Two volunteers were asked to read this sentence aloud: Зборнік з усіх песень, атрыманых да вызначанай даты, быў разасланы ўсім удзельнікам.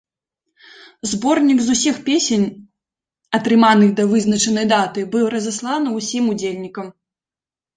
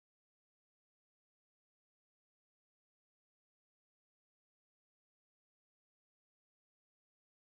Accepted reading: first